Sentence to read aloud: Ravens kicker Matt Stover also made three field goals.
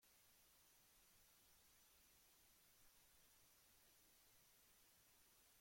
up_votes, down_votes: 0, 2